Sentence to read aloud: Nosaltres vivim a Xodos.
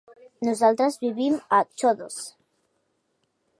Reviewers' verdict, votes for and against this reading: rejected, 1, 2